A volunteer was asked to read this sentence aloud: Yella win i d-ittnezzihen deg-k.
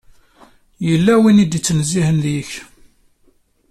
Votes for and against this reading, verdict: 2, 1, accepted